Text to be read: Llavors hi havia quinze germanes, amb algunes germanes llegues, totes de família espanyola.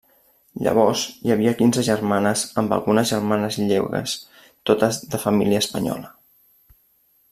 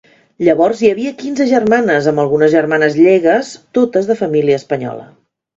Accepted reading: second